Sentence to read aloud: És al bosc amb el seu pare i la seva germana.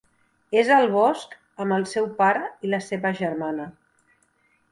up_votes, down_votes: 3, 0